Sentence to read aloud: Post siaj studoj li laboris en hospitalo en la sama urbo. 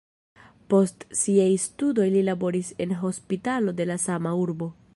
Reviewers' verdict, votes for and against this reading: rejected, 1, 2